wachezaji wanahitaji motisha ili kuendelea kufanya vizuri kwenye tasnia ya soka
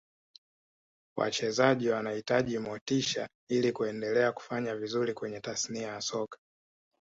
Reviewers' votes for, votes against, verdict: 2, 0, accepted